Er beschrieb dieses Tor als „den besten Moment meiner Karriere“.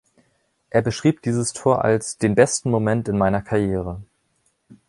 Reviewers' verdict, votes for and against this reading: rejected, 0, 2